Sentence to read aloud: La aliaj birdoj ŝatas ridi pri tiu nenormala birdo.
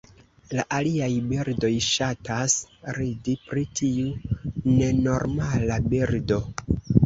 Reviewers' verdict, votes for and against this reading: rejected, 1, 2